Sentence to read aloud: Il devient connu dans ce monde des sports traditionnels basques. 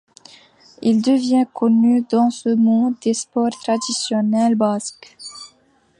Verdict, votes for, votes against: accepted, 2, 0